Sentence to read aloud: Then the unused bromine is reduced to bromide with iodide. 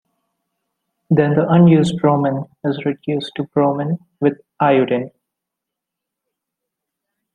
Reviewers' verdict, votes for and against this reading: rejected, 0, 2